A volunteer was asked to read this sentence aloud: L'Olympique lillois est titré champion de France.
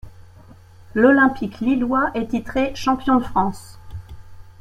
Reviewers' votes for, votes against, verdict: 2, 0, accepted